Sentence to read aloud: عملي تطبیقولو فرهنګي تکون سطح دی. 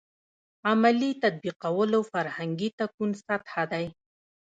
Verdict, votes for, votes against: rejected, 1, 2